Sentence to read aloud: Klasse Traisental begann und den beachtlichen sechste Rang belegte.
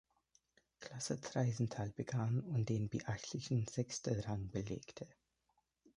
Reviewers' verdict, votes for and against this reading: rejected, 0, 2